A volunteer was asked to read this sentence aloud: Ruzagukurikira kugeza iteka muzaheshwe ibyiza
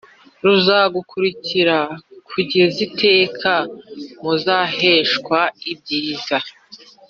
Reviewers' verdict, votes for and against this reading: rejected, 1, 2